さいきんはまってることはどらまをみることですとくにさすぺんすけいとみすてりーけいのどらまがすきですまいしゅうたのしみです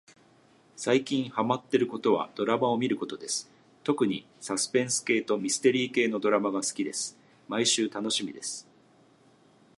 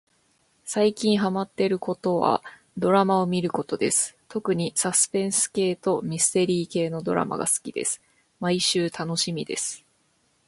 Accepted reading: second